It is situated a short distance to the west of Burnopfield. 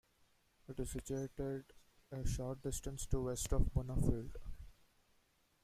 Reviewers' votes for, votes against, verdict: 0, 2, rejected